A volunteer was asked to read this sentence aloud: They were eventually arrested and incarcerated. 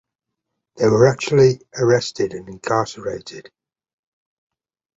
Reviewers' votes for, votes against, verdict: 1, 2, rejected